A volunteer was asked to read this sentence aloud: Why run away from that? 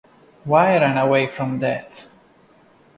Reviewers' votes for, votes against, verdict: 2, 0, accepted